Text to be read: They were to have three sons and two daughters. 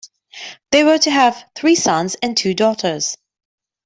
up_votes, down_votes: 2, 0